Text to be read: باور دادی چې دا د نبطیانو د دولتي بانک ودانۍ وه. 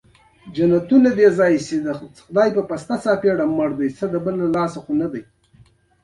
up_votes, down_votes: 2, 0